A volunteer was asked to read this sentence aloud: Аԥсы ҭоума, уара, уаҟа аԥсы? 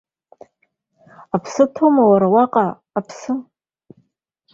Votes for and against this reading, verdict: 2, 0, accepted